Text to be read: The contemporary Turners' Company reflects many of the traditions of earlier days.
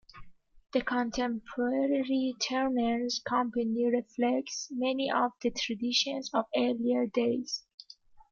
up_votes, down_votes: 2, 1